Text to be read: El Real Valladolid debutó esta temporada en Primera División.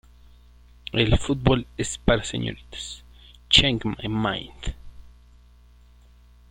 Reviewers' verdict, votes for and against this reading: rejected, 0, 2